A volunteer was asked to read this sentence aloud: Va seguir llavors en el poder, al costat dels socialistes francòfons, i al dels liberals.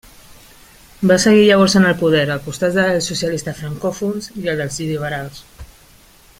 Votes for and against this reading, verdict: 0, 2, rejected